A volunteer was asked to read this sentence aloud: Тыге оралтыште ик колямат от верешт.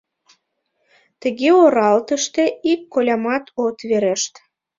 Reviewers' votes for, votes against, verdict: 2, 0, accepted